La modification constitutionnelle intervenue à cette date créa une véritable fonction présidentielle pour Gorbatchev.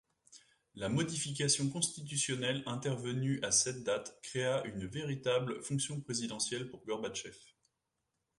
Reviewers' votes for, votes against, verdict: 2, 0, accepted